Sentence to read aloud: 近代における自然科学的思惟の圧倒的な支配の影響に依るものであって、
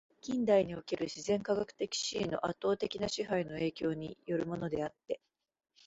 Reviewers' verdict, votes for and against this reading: accepted, 2, 0